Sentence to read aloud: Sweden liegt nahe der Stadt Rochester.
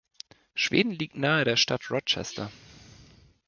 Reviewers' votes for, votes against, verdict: 1, 2, rejected